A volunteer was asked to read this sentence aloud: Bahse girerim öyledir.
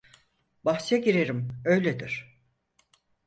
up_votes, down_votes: 4, 0